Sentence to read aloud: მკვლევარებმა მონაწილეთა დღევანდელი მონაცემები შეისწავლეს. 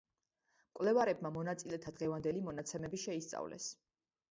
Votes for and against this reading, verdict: 2, 0, accepted